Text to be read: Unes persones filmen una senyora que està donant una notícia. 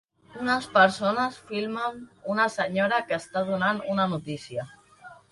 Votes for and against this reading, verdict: 3, 1, accepted